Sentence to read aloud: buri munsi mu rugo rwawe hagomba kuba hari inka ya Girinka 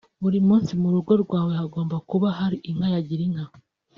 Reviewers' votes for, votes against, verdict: 2, 0, accepted